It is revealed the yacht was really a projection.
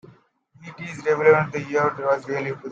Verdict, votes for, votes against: rejected, 0, 2